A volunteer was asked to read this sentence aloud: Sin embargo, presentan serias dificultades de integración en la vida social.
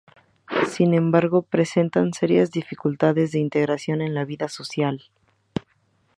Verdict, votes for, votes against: accepted, 2, 0